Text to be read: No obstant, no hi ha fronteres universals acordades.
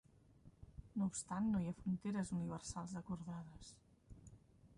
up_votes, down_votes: 2, 0